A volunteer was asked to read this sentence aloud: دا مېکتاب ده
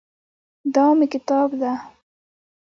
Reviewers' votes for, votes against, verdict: 0, 2, rejected